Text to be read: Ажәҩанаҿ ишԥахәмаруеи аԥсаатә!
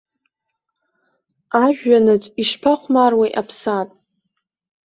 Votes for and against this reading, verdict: 2, 0, accepted